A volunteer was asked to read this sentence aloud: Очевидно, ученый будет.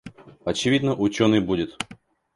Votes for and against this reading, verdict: 2, 0, accepted